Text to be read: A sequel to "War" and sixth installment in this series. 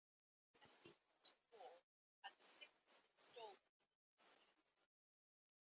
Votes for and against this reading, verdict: 0, 2, rejected